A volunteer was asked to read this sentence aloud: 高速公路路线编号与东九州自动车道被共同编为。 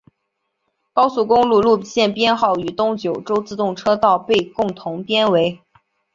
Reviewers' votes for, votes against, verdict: 5, 0, accepted